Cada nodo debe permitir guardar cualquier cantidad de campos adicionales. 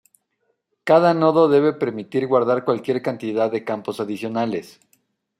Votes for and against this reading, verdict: 2, 0, accepted